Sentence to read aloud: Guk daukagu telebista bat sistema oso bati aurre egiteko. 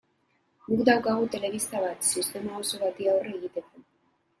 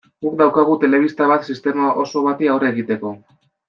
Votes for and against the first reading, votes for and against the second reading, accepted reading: 2, 1, 0, 2, first